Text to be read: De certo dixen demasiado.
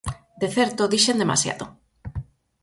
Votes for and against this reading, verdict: 4, 0, accepted